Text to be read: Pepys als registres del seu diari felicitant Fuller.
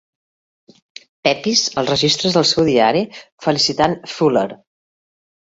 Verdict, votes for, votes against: accepted, 2, 0